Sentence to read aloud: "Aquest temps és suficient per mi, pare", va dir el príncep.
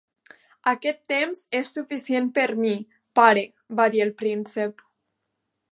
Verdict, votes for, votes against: accepted, 3, 0